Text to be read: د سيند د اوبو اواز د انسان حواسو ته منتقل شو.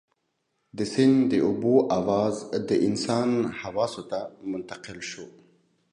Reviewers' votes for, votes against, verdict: 2, 0, accepted